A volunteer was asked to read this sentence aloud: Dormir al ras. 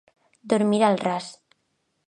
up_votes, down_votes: 2, 0